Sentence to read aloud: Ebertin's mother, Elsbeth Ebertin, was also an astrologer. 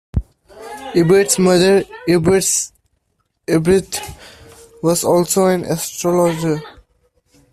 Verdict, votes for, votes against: rejected, 1, 2